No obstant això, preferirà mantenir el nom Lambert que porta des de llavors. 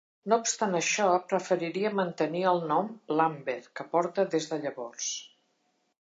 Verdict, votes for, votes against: rejected, 0, 2